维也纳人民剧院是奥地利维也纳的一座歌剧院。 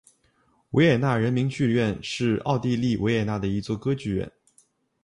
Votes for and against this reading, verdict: 3, 0, accepted